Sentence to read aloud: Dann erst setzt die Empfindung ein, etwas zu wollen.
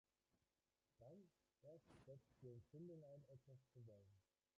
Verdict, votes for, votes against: rejected, 0, 2